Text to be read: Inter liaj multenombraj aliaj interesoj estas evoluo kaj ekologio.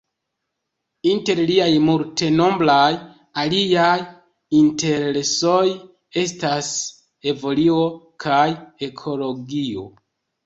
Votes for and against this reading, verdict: 1, 2, rejected